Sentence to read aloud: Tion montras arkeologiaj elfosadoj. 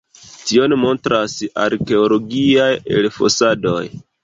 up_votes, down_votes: 1, 2